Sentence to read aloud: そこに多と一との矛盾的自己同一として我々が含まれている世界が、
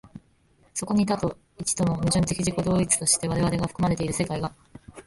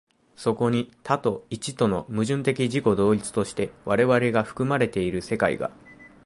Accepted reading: second